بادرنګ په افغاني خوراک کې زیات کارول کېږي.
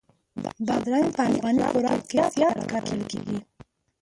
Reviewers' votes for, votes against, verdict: 0, 2, rejected